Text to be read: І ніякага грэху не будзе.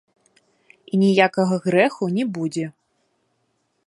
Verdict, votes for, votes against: accepted, 2, 0